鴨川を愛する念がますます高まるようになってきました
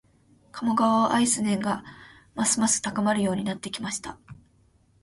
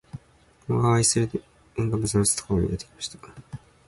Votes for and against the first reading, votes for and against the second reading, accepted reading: 4, 1, 0, 2, first